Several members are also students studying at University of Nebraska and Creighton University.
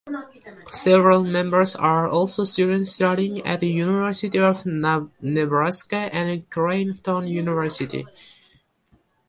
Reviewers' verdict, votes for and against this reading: accepted, 3, 2